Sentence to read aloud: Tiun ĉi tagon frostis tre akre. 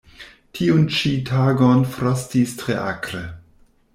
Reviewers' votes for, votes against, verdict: 2, 0, accepted